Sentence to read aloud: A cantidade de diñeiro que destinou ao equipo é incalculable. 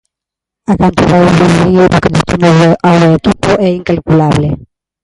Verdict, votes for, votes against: rejected, 0, 2